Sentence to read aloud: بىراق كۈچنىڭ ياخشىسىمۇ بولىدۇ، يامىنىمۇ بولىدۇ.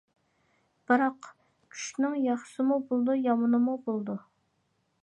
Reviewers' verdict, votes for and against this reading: accepted, 2, 0